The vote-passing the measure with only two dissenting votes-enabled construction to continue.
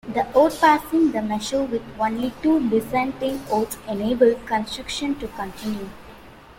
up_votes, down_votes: 0, 2